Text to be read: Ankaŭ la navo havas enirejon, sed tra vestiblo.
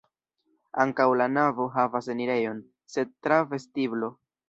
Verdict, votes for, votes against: accepted, 2, 1